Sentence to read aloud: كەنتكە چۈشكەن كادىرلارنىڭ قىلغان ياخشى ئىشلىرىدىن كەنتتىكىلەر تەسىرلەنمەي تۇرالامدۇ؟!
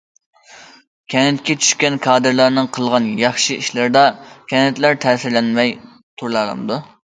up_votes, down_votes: 0, 2